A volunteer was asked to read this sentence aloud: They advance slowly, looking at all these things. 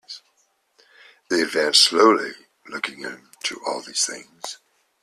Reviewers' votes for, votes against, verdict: 1, 2, rejected